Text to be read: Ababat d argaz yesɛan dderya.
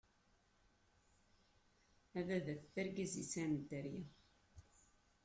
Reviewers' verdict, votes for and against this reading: rejected, 0, 2